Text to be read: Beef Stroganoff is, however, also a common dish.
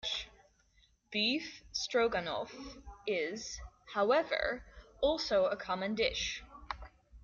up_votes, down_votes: 2, 0